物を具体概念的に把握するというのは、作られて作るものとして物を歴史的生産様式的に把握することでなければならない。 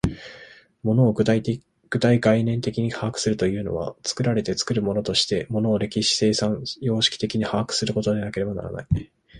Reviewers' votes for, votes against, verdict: 0, 2, rejected